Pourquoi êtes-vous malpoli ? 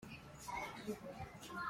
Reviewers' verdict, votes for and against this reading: rejected, 0, 2